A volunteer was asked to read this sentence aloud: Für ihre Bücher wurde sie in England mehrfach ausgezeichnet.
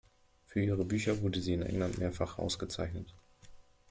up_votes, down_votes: 2, 0